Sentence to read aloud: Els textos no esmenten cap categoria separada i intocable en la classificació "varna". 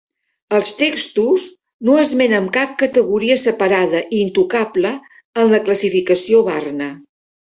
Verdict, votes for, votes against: rejected, 0, 3